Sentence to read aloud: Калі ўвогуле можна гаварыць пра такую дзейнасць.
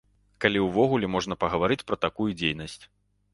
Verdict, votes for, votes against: rejected, 0, 2